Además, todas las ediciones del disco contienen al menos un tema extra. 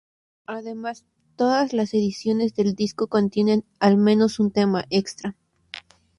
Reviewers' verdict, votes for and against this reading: accepted, 2, 0